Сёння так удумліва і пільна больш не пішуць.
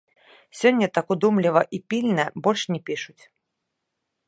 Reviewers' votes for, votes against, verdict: 1, 2, rejected